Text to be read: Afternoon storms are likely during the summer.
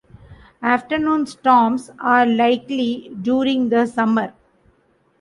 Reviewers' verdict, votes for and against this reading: accepted, 2, 0